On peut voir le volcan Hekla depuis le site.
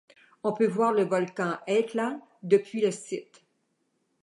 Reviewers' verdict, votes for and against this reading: accepted, 2, 0